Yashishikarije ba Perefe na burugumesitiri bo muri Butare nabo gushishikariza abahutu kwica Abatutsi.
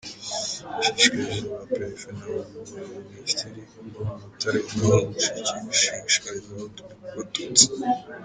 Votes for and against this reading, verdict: 0, 2, rejected